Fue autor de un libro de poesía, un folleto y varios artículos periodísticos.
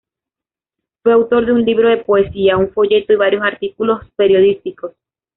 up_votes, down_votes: 0, 2